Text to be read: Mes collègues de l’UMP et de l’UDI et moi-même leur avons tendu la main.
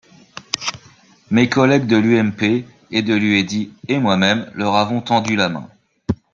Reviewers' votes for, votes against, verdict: 0, 2, rejected